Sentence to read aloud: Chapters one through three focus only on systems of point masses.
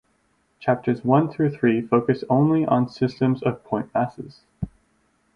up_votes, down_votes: 4, 0